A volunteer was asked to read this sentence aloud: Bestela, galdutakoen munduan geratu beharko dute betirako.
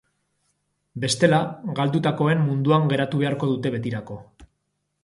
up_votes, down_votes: 3, 0